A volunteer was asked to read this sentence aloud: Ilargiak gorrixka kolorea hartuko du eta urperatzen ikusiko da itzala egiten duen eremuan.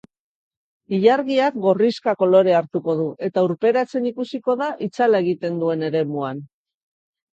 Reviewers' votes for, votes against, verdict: 2, 0, accepted